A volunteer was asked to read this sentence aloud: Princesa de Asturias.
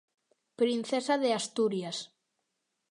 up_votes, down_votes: 2, 0